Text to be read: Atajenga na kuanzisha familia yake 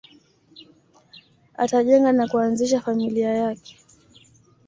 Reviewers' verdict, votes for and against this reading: accepted, 2, 0